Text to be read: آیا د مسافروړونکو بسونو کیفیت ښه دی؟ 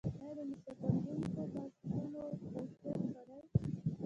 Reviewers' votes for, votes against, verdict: 1, 2, rejected